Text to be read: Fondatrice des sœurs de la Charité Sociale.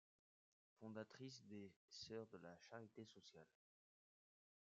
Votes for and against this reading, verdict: 0, 2, rejected